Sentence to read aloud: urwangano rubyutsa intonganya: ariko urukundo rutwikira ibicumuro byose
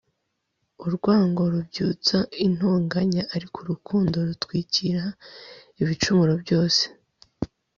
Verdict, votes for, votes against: rejected, 0, 2